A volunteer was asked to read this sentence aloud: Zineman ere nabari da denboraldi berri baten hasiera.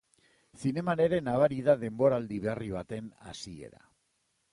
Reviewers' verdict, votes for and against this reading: accepted, 2, 0